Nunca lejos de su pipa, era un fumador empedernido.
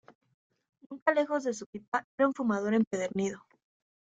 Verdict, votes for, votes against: rejected, 1, 2